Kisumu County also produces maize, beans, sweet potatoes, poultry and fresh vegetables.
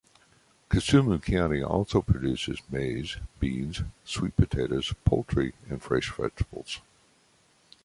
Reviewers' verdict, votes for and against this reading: accepted, 2, 0